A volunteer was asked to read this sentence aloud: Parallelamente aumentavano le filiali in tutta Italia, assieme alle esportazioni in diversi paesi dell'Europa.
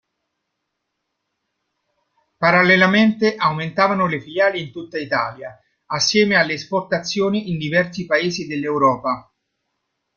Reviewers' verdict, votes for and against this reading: accepted, 2, 0